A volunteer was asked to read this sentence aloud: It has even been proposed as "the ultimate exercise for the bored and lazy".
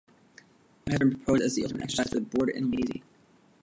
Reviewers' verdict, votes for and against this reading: rejected, 0, 2